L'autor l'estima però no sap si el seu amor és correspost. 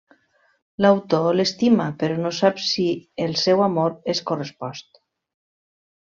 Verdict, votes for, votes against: rejected, 1, 2